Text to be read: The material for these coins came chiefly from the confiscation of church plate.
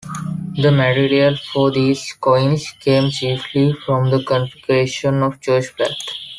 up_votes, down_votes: 1, 2